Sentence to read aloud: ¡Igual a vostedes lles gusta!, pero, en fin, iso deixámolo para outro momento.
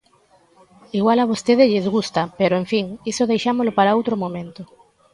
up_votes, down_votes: 1, 2